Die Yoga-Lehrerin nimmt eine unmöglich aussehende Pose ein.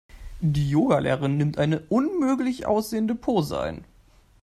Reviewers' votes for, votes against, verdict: 1, 2, rejected